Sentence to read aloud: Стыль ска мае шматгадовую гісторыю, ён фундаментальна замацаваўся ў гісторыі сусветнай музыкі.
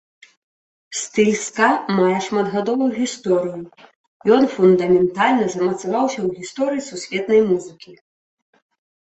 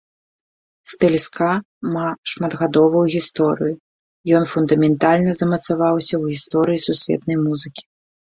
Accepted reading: first